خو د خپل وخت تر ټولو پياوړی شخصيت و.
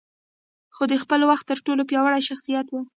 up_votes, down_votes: 2, 1